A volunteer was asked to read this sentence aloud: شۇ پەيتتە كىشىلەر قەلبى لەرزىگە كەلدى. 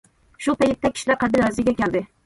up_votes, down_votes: 1, 2